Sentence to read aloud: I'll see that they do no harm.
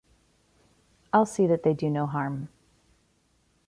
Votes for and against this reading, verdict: 2, 0, accepted